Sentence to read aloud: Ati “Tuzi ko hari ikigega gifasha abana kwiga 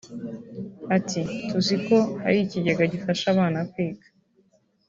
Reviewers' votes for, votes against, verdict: 3, 0, accepted